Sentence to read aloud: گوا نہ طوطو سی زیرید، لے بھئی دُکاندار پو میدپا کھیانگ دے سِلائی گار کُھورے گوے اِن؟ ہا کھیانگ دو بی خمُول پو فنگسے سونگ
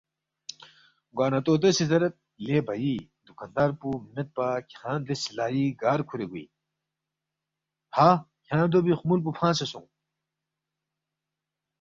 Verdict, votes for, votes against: accepted, 2, 0